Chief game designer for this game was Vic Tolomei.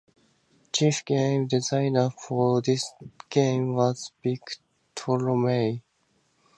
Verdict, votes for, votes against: accepted, 2, 0